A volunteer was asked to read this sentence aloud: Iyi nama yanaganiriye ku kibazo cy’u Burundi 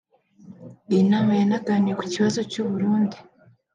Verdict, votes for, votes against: accepted, 3, 0